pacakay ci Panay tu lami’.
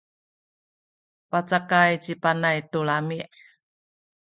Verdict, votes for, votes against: accepted, 2, 0